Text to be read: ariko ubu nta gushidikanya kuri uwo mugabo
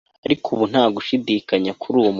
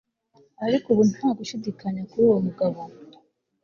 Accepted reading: second